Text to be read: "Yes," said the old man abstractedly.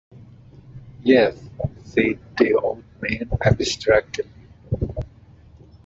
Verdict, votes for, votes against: rejected, 0, 2